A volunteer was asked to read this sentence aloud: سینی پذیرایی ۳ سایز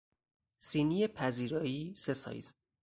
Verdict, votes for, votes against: rejected, 0, 2